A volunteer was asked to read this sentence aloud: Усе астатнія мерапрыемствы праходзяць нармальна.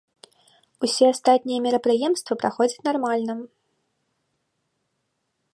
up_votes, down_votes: 0, 2